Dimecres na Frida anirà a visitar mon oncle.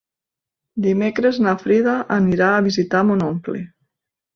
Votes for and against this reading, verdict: 2, 1, accepted